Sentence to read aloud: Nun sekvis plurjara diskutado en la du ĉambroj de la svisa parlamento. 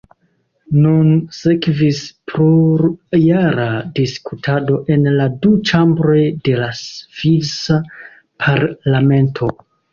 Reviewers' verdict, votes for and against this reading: rejected, 1, 2